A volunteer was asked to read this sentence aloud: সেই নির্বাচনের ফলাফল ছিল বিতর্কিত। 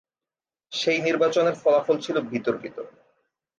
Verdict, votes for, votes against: accepted, 3, 0